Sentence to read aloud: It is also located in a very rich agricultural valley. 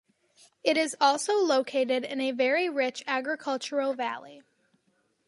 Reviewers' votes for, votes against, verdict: 2, 0, accepted